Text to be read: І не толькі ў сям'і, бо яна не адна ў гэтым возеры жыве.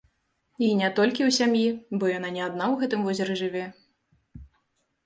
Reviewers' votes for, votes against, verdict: 2, 0, accepted